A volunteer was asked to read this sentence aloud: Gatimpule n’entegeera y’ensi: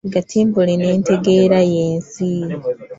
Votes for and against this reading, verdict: 1, 2, rejected